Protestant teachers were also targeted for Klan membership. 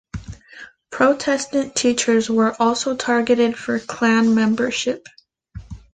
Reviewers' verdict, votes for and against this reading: rejected, 1, 2